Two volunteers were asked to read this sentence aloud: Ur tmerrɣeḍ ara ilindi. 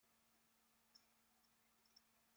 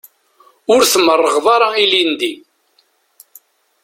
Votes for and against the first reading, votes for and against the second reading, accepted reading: 0, 2, 2, 0, second